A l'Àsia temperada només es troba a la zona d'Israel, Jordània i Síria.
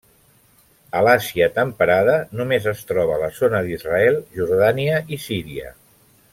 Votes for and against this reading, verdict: 0, 2, rejected